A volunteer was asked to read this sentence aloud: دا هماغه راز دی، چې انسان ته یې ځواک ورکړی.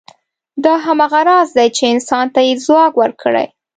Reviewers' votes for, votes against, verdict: 2, 0, accepted